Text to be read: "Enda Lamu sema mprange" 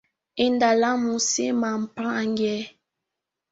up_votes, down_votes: 1, 2